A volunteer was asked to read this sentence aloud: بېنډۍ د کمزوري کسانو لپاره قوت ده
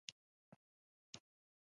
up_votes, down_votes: 1, 2